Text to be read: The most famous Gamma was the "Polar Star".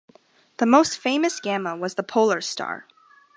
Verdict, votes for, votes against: accepted, 2, 0